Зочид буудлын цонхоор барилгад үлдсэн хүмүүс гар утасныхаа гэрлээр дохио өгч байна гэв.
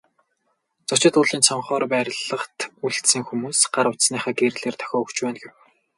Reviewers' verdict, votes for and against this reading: rejected, 2, 2